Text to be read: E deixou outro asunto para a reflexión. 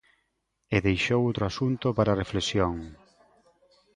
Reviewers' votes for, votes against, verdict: 2, 0, accepted